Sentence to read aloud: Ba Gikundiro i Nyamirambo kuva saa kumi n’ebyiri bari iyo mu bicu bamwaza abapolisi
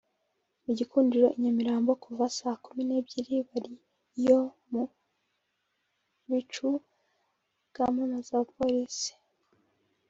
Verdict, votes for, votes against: rejected, 1, 2